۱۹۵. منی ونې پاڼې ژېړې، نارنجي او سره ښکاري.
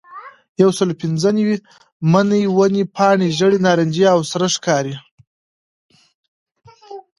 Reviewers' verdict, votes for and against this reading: rejected, 0, 2